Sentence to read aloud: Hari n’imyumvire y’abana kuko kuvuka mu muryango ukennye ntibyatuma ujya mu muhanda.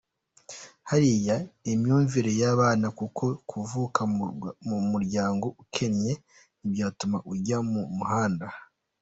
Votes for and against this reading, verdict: 1, 2, rejected